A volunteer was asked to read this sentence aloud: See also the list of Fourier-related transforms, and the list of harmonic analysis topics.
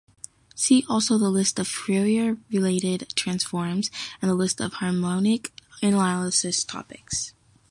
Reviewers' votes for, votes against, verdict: 1, 2, rejected